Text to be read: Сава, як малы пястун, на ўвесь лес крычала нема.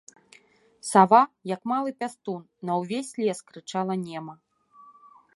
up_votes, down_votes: 2, 0